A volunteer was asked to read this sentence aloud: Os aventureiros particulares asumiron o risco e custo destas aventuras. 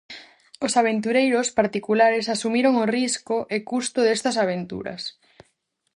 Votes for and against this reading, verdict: 4, 0, accepted